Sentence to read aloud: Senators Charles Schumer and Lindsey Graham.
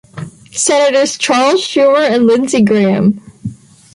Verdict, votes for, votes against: accepted, 2, 0